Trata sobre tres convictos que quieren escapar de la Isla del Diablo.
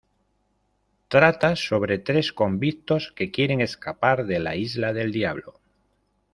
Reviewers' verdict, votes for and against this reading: accepted, 2, 0